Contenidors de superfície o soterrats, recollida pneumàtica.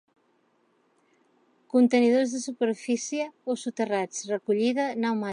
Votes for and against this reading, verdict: 2, 1, accepted